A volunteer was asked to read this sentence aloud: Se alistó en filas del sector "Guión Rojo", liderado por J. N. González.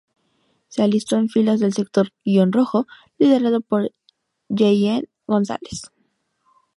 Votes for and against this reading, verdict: 0, 2, rejected